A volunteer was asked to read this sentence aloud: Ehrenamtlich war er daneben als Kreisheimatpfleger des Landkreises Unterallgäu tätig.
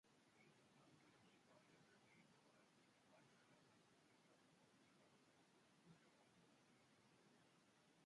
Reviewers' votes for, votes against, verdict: 0, 2, rejected